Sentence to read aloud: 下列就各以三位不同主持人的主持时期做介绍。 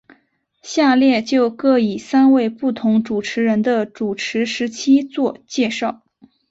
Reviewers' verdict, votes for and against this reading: accepted, 4, 0